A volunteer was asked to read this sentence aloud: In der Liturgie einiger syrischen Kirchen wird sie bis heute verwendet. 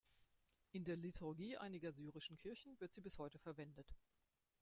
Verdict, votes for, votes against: rejected, 1, 2